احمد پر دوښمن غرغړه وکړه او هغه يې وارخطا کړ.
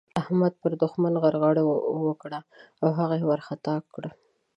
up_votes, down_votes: 0, 2